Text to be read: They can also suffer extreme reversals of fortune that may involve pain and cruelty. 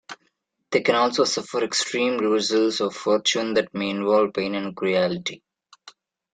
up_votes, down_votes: 2, 1